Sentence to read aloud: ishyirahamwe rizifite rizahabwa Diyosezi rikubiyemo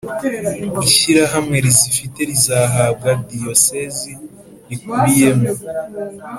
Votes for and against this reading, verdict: 2, 0, accepted